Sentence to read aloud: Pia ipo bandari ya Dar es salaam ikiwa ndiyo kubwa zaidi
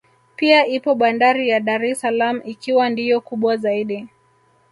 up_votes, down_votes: 1, 2